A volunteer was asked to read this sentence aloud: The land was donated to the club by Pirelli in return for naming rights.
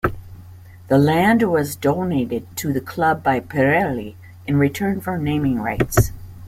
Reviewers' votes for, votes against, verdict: 2, 0, accepted